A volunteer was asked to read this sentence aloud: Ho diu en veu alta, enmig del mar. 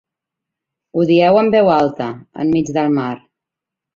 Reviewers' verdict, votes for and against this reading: rejected, 0, 2